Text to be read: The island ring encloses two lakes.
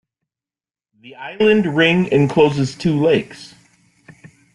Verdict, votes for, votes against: accepted, 2, 0